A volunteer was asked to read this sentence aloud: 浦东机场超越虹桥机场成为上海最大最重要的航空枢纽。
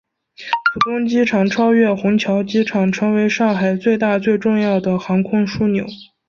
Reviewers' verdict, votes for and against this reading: accepted, 4, 1